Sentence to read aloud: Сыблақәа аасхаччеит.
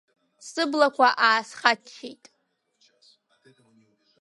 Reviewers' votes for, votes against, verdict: 3, 1, accepted